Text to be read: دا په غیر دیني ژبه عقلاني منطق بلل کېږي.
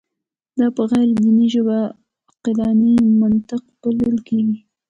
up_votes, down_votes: 2, 0